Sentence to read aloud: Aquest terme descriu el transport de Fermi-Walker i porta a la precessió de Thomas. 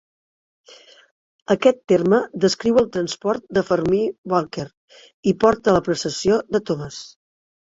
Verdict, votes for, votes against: rejected, 0, 2